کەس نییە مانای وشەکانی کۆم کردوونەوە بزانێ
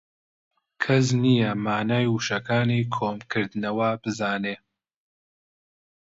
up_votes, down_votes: 2, 0